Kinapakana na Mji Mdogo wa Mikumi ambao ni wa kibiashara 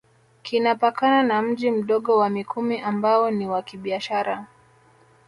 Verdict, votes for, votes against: rejected, 0, 2